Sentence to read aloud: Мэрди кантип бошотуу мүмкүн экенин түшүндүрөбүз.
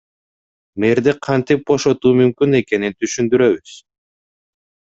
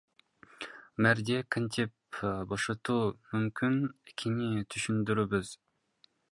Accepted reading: first